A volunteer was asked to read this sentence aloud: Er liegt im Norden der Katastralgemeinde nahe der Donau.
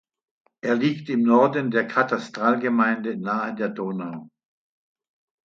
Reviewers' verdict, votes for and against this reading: accepted, 2, 0